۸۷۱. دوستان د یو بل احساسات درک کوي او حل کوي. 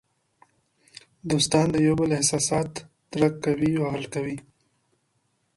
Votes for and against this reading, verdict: 0, 2, rejected